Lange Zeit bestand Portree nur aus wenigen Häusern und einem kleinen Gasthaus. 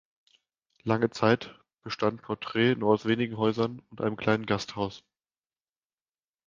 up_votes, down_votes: 2, 0